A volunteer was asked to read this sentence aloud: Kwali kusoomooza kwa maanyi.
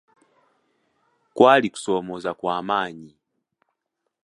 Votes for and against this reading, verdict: 2, 0, accepted